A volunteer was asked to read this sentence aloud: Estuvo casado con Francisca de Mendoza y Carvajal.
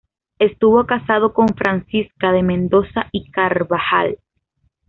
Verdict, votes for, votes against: accepted, 2, 0